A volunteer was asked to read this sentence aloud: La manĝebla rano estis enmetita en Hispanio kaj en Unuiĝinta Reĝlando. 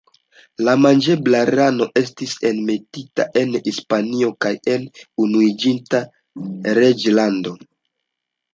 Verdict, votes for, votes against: rejected, 1, 2